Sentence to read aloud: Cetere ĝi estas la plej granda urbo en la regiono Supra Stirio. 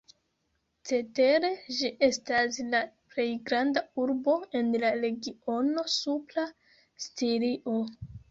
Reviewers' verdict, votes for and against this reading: rejected, 1, 2